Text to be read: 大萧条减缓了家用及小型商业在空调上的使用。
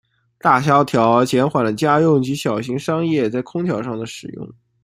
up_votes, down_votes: 2, 1